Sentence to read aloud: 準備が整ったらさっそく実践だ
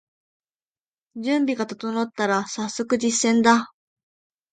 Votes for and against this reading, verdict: 2, 0, accepted